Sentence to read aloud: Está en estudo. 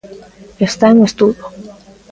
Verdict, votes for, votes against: accepted, 2, 0